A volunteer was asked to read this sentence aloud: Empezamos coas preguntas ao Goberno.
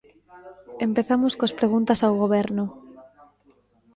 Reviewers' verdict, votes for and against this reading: rejected, 1, 2